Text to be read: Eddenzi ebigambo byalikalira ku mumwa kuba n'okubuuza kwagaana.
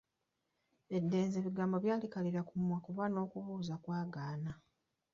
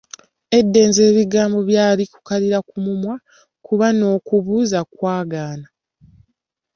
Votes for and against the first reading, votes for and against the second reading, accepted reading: 1, 2, 2, 0, second